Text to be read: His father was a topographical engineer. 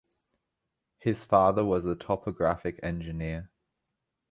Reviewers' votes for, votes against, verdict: 1, 2, rejected